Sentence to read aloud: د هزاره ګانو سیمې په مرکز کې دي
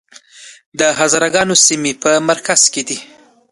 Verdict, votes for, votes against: accepted, 2, 0